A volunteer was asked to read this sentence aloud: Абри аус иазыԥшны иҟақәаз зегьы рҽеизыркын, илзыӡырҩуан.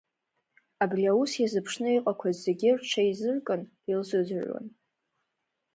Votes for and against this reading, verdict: 2, 0, accepted